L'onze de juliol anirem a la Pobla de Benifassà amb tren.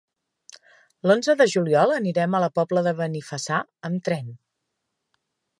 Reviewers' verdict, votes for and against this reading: accepted, 4, 0